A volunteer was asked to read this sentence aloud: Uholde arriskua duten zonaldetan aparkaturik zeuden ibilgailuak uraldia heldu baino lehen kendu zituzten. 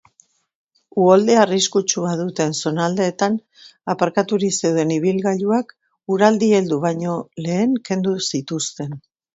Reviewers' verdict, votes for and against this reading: rejected, 1, 2